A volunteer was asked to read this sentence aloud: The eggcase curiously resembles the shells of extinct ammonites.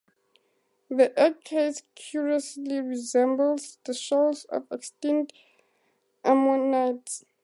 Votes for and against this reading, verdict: 2, 0, accepted